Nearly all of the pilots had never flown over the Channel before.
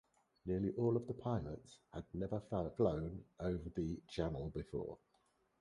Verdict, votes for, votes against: accepted, 4, 2